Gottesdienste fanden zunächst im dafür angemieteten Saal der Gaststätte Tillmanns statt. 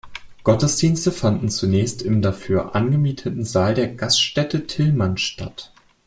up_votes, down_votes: 2, 0